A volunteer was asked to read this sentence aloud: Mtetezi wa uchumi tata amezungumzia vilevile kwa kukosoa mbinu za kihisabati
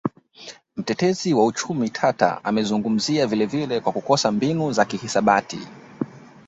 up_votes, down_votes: 1, 2